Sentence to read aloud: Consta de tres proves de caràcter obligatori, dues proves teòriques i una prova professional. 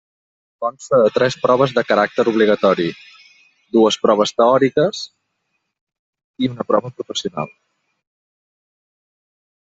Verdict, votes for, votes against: rejected, 1, 2